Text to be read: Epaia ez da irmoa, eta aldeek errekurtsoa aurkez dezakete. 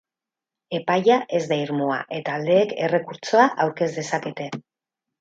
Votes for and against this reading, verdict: 2, 0, accepted